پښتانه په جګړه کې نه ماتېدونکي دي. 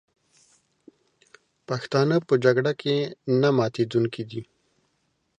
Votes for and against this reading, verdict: 4, 0, accepted